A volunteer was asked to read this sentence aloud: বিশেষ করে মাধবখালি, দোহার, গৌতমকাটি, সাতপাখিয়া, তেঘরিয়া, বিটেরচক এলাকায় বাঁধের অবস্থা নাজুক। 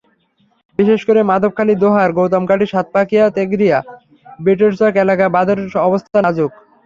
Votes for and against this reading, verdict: 0, 3, rejected